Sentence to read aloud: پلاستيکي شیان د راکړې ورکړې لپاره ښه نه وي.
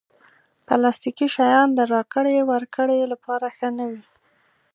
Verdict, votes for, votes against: accepted, 2, 0